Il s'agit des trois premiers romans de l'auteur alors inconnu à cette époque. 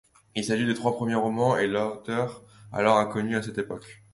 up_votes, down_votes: 0, 2